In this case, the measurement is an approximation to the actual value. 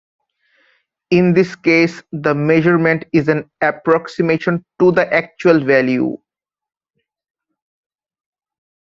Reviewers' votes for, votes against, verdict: 2, 0, accepted